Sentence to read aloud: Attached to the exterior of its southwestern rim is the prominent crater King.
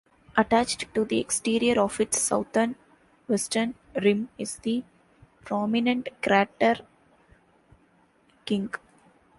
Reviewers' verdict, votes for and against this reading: rejected, 0, 2